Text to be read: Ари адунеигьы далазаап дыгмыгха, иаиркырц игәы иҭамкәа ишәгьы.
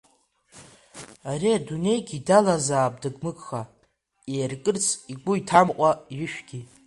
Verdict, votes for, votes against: accepted, 2, 1